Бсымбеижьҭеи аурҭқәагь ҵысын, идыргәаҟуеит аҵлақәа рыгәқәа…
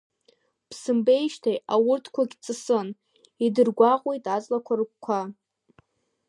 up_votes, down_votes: 0, 2